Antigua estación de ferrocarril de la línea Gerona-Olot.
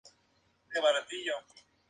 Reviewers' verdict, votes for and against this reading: rejected, 0, 2